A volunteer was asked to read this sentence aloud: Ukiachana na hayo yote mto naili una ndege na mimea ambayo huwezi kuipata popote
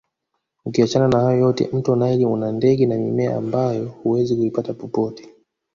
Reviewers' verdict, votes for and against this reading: rejected, 1, 2